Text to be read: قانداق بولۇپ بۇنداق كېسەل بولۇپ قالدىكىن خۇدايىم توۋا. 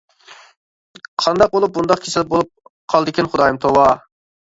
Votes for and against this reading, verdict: 2, 0, accepted